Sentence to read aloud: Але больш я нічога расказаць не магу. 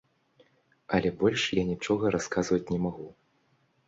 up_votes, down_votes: 0, 2